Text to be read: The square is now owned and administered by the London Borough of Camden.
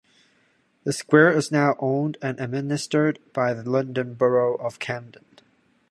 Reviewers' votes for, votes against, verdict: 2, 1, accepted